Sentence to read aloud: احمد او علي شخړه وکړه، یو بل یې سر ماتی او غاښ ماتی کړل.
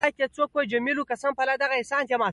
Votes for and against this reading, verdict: 0, 2, rejected